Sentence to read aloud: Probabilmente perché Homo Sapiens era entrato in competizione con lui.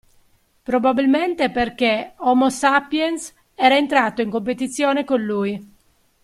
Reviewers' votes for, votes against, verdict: 2, 0, accepted